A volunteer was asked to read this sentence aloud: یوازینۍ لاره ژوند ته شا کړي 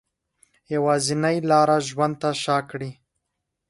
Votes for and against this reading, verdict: 3, 0, accepted